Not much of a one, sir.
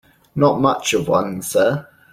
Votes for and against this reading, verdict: 0, 2, rejected